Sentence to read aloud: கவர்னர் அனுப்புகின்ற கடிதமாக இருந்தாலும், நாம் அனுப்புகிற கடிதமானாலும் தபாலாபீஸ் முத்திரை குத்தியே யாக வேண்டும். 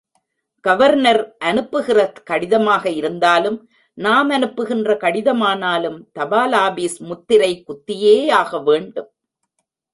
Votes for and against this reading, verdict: 1, 2, rejected